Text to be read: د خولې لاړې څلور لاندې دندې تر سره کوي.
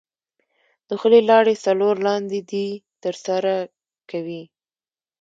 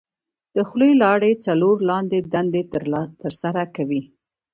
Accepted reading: second